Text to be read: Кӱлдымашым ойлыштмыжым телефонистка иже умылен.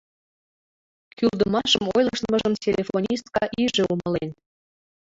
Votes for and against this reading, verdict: 2, 0, accepted